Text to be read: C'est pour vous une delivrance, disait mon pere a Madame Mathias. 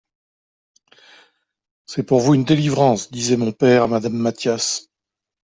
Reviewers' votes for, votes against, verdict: 2, 0, accepted